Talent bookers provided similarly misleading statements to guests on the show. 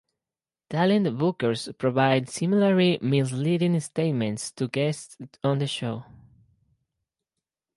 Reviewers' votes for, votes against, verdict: 2, 2, rejected